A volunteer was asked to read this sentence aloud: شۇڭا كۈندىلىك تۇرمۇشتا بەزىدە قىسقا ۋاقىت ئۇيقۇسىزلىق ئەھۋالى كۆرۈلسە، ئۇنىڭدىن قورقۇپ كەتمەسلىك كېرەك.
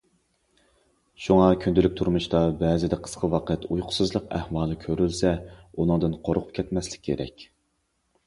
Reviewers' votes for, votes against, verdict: 2, 0, accepted